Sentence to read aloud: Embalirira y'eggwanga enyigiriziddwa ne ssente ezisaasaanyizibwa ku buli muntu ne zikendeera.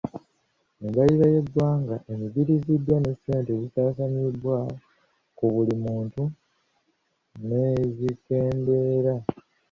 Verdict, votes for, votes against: rejected, 1, 2